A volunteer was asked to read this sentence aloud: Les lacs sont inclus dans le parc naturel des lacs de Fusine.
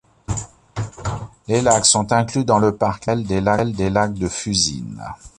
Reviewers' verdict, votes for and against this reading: rejected, 0, 2